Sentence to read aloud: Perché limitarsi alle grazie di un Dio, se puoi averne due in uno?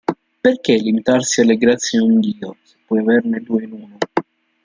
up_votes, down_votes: 0, 2